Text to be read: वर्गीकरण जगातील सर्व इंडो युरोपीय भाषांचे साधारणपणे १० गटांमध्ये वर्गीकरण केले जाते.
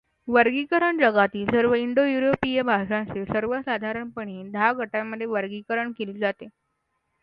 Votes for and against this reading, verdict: 0, 2, rejected